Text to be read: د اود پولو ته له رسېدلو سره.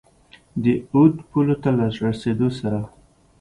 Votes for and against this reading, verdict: 2, 0, accepted